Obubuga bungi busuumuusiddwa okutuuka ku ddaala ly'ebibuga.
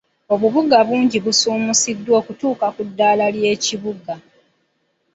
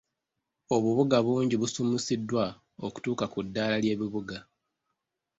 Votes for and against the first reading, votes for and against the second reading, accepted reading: 1, 2, 4, 0, second